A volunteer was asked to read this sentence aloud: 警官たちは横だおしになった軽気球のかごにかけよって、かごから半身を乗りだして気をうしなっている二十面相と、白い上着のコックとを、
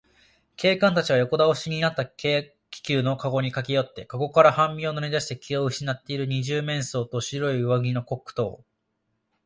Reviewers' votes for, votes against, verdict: 2, 0, accepted